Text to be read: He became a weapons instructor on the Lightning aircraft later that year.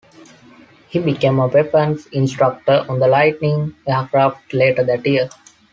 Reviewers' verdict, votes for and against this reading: accepted, 2, 0